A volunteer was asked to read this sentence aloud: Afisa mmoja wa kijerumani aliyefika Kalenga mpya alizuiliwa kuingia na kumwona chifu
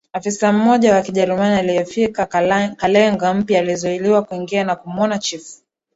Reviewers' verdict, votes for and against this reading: rejected, 1, 2